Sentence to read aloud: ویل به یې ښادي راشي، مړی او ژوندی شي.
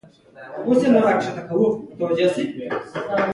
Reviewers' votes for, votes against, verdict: 1, 2, rejected